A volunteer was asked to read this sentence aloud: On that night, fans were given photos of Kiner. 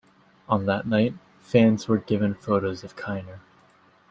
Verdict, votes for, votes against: accepted, 2, 0